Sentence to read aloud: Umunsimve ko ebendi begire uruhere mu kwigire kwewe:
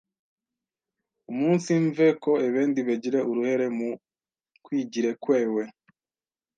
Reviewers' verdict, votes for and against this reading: rejected, 1, 2